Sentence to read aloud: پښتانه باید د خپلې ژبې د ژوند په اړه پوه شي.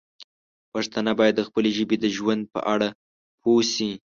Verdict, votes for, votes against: accepted, 2, 0